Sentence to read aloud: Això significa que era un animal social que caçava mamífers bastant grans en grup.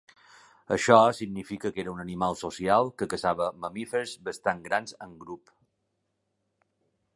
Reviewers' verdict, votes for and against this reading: accepted, 2, 0